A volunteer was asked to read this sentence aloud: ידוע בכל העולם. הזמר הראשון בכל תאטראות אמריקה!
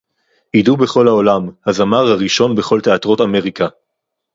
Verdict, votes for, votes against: rejected, 2, 4